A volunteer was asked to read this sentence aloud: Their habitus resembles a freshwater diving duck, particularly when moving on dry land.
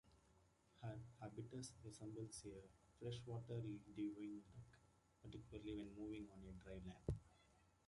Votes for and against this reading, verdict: 0, 2, rejected